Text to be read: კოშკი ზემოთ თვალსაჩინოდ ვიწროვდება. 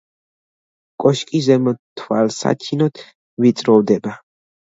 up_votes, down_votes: 1, 2